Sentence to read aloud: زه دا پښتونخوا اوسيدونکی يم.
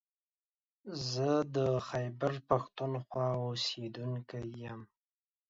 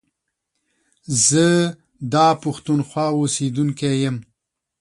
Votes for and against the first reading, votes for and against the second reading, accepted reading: 1, 2, 3, 0, second